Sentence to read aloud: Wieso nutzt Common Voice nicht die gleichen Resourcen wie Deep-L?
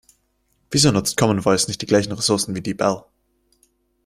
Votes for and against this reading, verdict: 2, 0, accepted